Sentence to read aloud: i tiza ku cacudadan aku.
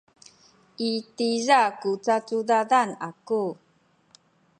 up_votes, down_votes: 2, 0